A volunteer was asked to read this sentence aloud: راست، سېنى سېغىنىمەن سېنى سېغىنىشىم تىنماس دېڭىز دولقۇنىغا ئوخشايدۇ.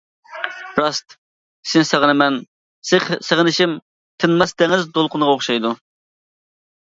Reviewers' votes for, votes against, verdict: 0, 2, rejected